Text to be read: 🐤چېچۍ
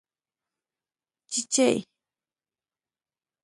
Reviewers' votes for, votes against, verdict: 2, 0, accepted